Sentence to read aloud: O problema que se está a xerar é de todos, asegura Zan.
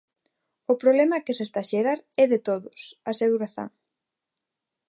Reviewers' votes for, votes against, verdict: 2, 0, accepted